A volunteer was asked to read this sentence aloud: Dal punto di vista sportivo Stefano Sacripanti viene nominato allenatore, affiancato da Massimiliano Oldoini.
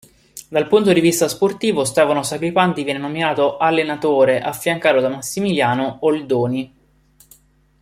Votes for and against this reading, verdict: 5, 6, rejected